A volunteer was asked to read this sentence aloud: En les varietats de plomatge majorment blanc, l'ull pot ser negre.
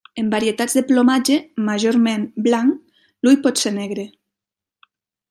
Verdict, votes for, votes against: rejected, 1, 2